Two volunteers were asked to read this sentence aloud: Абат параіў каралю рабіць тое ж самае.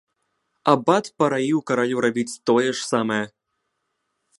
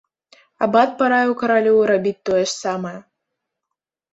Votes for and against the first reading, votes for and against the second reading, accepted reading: 1, 2, 2, 0, second